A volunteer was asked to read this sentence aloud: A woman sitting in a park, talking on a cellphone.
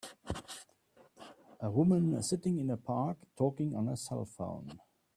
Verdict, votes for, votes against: accepted, 2, 0